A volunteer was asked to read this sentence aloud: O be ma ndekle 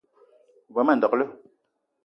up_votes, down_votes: 2, 0